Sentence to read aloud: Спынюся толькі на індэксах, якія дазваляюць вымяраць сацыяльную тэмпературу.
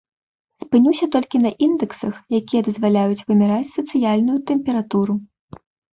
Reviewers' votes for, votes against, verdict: 2, 0, accepted